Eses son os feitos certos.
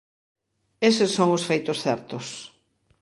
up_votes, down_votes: 2, 0